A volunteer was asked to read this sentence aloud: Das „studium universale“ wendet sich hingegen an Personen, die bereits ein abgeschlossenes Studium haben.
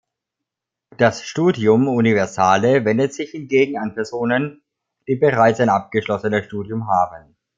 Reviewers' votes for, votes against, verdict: 2, 0, accepted